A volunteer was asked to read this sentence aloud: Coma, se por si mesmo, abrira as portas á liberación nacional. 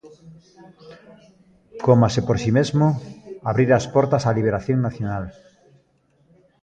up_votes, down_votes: 2, 0